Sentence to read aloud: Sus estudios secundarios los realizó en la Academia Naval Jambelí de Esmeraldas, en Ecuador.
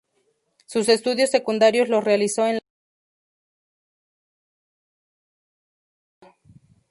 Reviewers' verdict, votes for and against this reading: rejected, 0, 2